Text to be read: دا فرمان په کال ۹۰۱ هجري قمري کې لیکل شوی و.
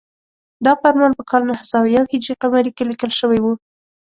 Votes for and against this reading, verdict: 0, 2, rejected